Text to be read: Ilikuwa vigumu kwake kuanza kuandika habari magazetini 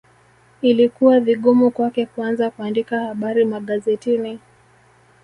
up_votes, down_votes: 2, 1